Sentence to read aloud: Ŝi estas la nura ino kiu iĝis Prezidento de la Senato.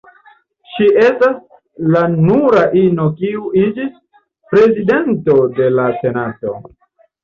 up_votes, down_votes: 1, 2